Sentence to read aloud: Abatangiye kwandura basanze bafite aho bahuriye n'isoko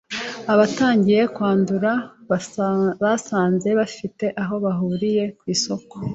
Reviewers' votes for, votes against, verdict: 1, 2, rejected